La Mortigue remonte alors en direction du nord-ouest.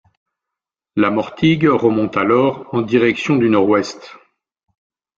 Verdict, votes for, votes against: accepted, 2, 0